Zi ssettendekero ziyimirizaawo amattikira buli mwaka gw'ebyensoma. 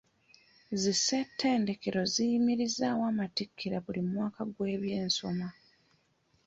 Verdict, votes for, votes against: accepted, 2, 0